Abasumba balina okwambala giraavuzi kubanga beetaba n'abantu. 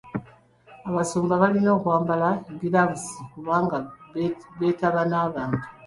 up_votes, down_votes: 1, 2